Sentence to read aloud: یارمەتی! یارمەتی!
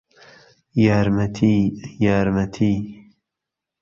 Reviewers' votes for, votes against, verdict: 0, 2, rejected